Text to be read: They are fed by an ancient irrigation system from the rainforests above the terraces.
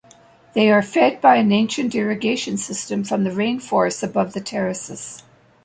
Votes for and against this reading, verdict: 2, 0, accepted